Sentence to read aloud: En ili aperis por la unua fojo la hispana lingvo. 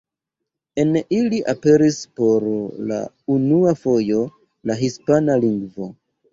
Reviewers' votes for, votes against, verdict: 0, 2, rejected